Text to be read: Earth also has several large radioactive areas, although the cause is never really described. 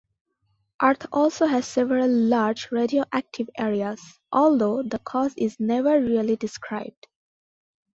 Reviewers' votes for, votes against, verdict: 2, 0, accepted